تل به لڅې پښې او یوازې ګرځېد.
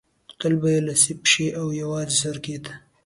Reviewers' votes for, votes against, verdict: 2, 1, accepted